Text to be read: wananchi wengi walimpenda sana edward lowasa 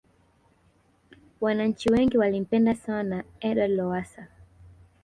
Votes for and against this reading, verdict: 2, 3, rejected